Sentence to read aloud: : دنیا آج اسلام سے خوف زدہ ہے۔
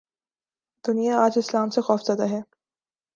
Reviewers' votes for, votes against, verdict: 2, 0, accepted